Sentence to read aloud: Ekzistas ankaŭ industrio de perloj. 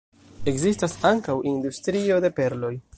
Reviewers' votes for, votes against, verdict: 0, 2, rejected